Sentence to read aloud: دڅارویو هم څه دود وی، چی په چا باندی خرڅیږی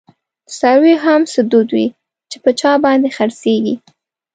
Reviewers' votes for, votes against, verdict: 1, 2, rejected